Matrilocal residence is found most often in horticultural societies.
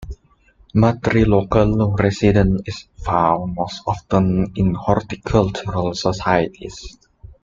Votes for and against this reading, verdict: 2, 0, accepted